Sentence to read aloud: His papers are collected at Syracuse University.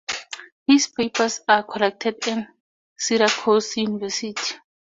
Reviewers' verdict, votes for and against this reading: rejected, 0, 2